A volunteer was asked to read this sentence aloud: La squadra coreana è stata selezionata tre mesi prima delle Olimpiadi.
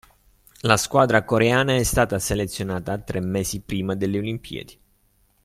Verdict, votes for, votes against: accepted, 2, 0